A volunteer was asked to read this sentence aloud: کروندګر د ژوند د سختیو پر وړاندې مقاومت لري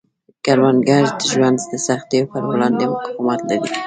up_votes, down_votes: 2, 0